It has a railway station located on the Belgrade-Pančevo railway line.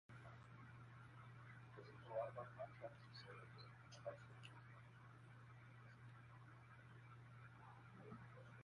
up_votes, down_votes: 0, 2